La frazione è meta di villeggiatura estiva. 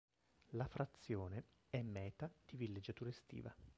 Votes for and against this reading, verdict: 0, 2, rejected